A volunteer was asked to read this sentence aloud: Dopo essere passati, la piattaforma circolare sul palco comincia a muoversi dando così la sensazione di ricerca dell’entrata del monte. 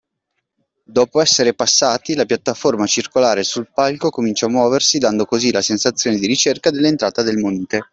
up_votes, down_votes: 0, 2